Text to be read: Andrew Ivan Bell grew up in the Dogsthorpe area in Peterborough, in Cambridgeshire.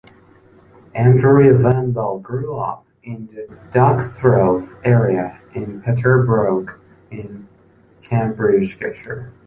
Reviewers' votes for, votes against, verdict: 0, 2, rejected